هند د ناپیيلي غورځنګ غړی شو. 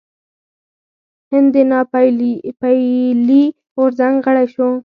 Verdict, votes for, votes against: accepted, 4, 2